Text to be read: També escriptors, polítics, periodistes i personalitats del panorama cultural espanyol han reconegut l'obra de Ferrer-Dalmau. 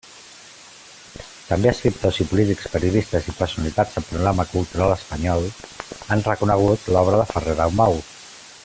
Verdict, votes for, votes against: rejected, 0, 2